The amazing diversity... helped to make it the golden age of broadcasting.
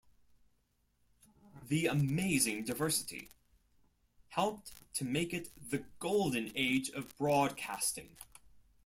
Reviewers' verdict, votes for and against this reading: accepted, 2, 0